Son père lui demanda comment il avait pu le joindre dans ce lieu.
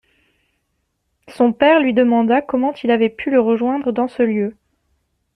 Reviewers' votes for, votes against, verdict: 0, 2, rejected